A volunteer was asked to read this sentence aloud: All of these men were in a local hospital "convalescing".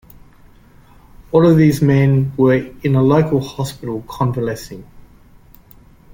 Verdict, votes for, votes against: accepted, 3, 0